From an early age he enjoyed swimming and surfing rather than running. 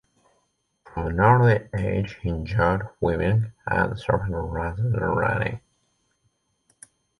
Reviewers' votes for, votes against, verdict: 0, 2, rejected